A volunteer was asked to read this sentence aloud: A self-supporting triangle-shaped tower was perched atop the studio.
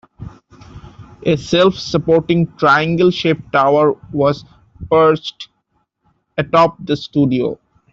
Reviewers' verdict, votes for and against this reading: rejected, 1, 2